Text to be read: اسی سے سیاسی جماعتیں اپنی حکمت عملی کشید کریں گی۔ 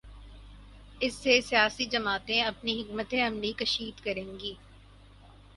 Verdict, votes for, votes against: accepted, 4, 0